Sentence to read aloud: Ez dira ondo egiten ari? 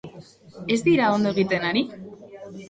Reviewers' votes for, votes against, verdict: 2, 0, accepted